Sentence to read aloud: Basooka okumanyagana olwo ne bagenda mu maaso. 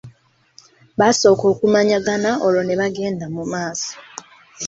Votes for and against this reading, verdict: 1, 2, rejected